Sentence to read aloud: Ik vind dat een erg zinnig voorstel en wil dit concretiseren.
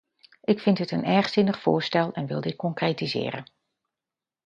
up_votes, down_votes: 0, 2